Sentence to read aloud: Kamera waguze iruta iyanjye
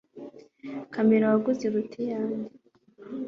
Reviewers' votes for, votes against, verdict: 3, 0, accepted